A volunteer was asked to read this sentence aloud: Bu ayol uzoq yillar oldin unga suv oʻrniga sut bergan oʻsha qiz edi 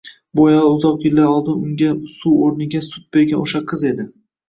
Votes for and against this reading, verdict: 2, 0, accepted